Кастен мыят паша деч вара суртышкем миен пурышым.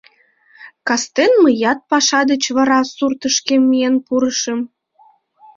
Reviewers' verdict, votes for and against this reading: accepted, 2, 0